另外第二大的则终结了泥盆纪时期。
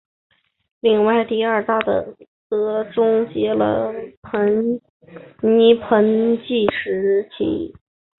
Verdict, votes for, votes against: rejected, 0, 3